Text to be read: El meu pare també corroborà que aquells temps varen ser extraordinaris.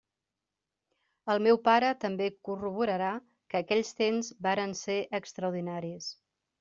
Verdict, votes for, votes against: rejected, 0, 2